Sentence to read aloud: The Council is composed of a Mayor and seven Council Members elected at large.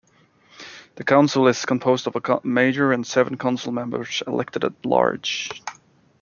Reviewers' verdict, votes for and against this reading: rejected, 0, 2